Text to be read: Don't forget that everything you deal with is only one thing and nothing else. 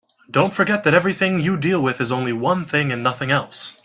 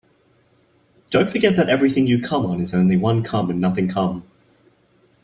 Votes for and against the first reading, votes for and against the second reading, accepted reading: 3, 0, 0, 3, first